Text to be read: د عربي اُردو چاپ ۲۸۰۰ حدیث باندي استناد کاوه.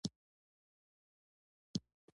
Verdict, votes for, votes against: rejected, 0, 2